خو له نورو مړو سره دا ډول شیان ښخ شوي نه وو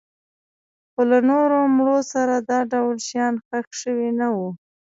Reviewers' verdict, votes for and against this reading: rejected, 1, 2